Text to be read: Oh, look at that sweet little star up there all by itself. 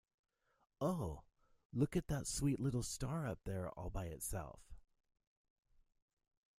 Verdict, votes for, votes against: accepted, 2, 0